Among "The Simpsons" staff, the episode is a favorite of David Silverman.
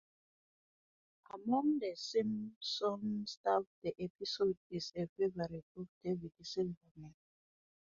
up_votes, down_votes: 0, 2